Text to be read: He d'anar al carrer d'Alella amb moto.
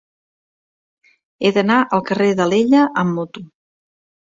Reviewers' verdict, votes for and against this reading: accepted, 2, 0